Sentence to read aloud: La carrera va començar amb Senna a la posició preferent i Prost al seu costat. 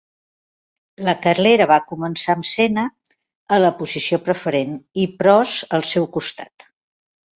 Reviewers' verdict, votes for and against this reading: rejected, 2, 3